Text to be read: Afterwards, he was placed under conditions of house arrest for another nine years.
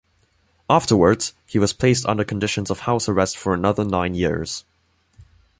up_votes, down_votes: 2, 0